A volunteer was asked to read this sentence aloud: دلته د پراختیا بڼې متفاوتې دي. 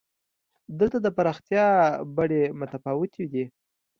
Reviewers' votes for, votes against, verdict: 2, 0, accepted